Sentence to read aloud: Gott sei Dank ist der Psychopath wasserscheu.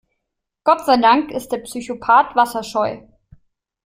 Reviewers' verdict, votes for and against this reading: accepted, 2, 0